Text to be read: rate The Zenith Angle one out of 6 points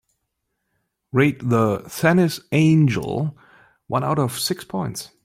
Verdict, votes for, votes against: rejected, 0, 2